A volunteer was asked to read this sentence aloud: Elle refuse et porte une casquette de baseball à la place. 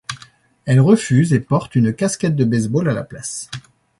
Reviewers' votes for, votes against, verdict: 2, 0, accepted